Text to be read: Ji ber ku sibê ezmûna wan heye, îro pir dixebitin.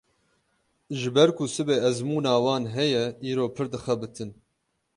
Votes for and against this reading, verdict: 12, 0, accepted